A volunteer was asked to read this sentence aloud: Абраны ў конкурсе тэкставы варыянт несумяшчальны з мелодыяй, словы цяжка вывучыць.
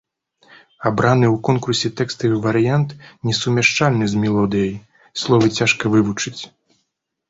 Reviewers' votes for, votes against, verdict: 2, 0, accepted